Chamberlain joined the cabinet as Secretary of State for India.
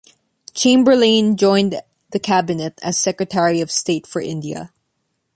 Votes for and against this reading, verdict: 2, 0, accepted